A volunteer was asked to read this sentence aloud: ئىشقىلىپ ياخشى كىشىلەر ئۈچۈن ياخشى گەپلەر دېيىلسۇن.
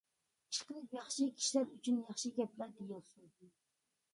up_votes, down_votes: 0, 2